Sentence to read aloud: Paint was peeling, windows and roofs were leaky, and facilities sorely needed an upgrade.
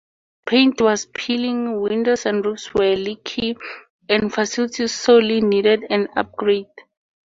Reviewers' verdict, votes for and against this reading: accepted, 2, 0